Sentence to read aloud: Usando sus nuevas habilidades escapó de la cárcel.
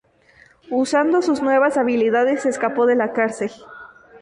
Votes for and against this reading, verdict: 2, 2, rejected